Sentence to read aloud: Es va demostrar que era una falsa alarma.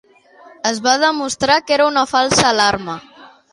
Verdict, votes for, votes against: accepted, 3, 2